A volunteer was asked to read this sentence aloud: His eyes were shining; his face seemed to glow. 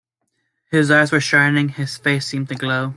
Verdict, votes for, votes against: accepted, 2, 0